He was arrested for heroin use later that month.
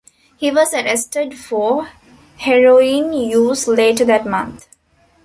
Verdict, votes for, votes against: accepted, 2, 0